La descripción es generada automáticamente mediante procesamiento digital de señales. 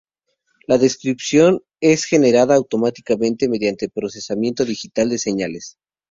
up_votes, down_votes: 4, 0